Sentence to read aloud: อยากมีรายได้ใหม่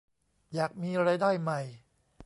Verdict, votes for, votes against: accepted, 2, 1